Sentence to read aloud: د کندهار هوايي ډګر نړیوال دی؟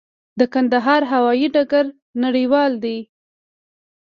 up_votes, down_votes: 1, 2